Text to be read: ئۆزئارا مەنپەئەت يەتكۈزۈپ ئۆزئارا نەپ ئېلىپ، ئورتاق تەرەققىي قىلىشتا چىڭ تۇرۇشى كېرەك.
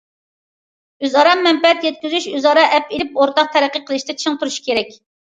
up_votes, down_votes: 0, 2